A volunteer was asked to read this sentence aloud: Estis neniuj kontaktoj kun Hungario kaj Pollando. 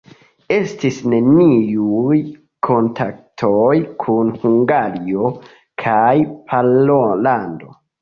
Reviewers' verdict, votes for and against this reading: rejected, 1, 2